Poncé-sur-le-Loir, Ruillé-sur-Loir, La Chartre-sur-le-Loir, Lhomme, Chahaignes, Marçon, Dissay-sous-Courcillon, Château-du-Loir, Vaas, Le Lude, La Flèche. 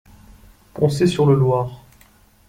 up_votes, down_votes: 0, 2